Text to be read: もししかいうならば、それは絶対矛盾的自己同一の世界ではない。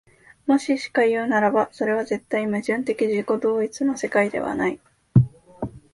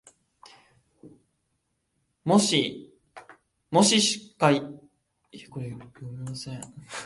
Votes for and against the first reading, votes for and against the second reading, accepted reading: 2, 0, 0, 2, first